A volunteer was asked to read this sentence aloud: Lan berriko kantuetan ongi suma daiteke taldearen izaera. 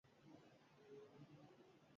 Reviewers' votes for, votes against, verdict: 0, 2, rejected